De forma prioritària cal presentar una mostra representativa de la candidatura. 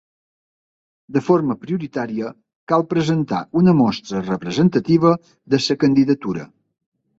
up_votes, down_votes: 1, 2